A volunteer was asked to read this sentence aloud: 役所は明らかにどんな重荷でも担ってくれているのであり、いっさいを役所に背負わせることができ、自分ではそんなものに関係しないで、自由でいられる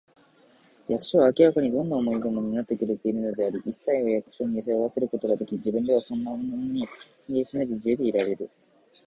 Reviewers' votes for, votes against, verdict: 0, 3, rejected